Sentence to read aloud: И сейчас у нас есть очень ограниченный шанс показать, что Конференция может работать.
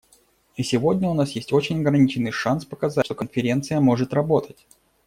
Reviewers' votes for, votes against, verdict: 0, 2, rejected